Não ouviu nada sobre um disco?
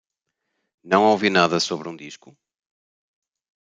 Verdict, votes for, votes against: rejected, 0, 2